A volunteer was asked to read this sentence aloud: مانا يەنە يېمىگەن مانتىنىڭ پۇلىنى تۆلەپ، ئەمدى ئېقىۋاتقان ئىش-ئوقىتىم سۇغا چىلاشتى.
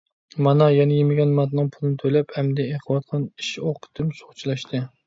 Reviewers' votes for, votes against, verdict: 2, 0, accepted